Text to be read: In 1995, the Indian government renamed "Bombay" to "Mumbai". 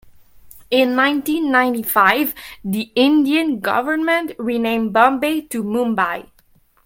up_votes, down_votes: 0, 2